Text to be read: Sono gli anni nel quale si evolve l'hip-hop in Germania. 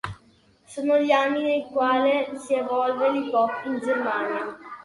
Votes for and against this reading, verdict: 2, 1, accepted